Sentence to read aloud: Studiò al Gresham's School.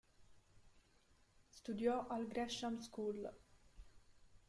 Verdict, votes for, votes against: rejected, 1, 2